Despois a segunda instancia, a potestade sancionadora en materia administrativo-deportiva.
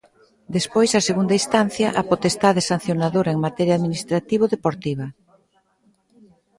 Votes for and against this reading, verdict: 2, 0, accepted